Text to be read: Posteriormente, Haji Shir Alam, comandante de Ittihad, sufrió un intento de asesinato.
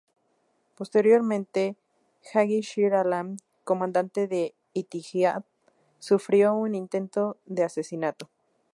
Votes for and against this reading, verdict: 2, 2, rejected